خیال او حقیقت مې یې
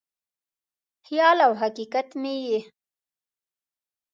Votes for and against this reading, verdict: 2, 0, accepted